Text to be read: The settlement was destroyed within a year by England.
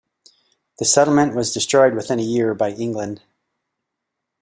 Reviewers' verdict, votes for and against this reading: accepted, 2, 0